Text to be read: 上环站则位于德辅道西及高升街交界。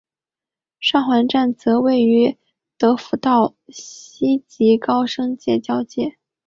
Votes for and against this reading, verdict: 3, 0, accepted